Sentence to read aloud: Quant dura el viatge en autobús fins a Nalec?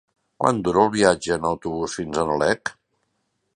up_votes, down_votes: 0, 2